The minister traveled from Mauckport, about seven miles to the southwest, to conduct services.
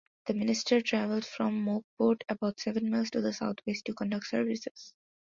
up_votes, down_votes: 2, 0